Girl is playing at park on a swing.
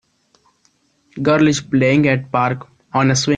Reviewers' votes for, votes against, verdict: 0, 2, rejected